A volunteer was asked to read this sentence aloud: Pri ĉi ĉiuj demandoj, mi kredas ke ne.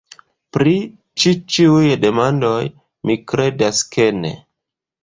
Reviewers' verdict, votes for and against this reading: accepted, 2, 0